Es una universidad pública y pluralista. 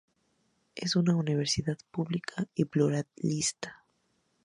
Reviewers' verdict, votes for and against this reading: accepted, 2, 0